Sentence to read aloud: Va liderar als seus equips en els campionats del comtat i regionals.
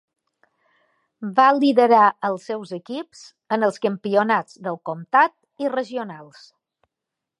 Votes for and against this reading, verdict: 2, 0, accepted